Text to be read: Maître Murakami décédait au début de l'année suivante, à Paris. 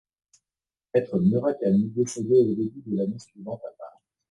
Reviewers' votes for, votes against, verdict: 1, 2, rejected